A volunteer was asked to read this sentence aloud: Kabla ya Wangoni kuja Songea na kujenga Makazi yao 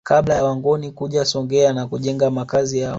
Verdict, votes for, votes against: accepted, 2, 0